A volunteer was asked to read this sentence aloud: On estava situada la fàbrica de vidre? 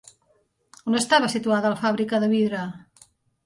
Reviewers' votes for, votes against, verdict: 4, 0, accepted